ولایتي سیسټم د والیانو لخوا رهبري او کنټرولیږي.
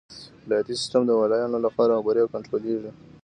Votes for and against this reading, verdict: 2, 0, accepted